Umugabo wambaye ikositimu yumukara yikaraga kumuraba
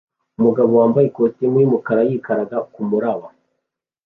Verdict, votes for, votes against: accepted, 2, 1